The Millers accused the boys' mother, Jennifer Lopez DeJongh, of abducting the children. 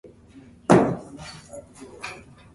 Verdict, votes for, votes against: rejected, 0, 2